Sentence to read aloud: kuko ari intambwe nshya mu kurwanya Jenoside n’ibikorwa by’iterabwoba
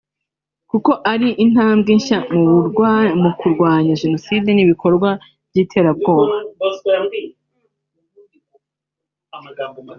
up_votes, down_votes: 0, 2